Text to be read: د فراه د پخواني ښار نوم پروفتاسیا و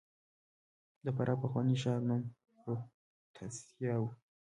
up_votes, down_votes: 0, 2